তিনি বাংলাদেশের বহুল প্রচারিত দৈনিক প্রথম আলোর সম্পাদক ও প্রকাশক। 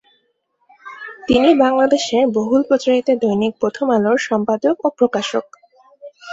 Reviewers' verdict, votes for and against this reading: accepted, 2, 0